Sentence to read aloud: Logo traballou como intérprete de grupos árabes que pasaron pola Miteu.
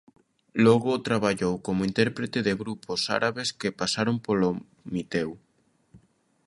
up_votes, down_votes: 0, 2